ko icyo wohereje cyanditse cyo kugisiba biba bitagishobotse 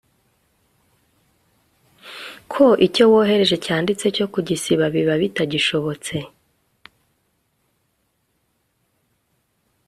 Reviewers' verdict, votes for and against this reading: accepted, 2, 0